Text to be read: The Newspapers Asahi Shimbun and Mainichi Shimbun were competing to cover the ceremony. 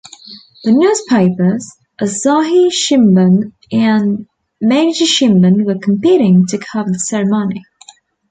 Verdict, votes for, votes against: accepted, 2, 0